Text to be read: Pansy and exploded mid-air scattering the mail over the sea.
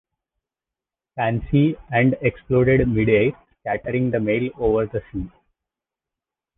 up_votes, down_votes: 1, 2